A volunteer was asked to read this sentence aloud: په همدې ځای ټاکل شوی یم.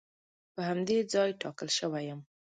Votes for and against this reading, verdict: 2, 0, accepted